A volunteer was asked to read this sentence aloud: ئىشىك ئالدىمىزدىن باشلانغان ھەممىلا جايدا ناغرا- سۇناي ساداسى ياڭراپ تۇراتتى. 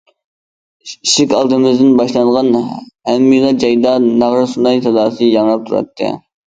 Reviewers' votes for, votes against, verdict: 2, 0, accepted